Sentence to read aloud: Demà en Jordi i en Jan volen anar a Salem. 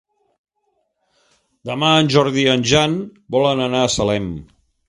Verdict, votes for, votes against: accepted, 3, 0